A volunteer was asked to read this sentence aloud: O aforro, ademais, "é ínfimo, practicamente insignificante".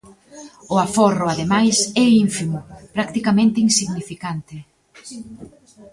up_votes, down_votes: 0, 2